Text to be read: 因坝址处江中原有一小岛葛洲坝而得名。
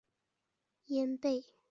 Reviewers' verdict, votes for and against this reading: rejected, 1, 6